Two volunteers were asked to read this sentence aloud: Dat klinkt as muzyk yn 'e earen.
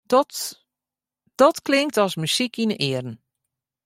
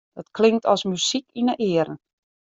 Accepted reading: second